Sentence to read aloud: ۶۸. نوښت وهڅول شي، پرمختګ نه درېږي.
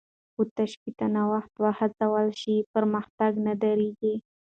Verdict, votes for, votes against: rejected, 0, 2